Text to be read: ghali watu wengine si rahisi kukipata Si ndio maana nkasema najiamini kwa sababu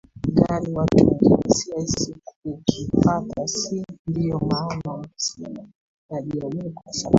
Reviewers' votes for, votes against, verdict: 0, 2, rejected